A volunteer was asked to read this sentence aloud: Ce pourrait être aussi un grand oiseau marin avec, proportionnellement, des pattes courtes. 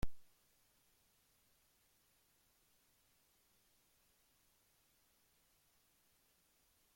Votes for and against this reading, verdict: 0, 2, rejected